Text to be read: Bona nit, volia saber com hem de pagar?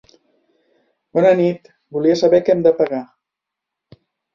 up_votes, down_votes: 2, 1